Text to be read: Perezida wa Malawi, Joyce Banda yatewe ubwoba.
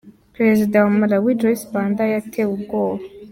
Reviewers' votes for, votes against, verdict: 2, 0, accepted